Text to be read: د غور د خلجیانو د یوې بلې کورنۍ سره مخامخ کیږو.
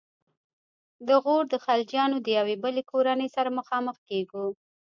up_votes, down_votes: 0, 2